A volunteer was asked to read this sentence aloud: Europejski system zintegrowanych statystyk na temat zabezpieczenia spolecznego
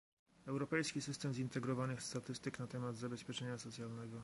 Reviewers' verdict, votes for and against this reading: rejected, 0, 2